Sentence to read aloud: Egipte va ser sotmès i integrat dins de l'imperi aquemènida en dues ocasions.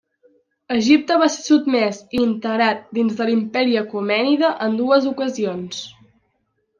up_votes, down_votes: 1, 2